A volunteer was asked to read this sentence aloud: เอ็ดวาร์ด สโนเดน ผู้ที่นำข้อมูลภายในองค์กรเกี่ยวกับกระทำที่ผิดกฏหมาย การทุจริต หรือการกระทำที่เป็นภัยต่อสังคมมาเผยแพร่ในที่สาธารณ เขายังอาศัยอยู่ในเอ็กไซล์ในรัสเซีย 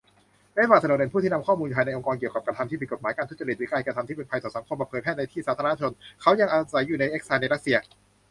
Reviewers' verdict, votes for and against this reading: rejected, 0, 2